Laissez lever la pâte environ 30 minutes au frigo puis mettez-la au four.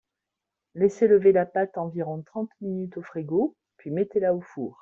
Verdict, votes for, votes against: rejected, 0, 2